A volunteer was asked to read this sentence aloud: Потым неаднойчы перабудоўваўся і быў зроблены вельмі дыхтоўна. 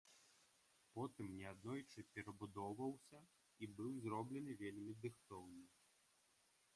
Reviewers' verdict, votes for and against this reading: accepted, 2, 0